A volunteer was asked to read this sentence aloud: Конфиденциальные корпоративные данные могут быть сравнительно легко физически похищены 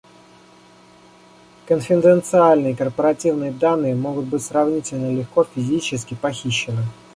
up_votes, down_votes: 2, 0